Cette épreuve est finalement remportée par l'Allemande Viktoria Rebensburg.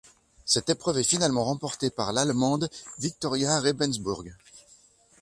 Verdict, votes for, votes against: accepted, 2, 0